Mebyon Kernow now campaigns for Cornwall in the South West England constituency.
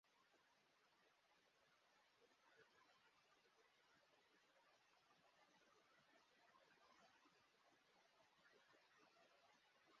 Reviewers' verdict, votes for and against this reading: rejected, 0, 2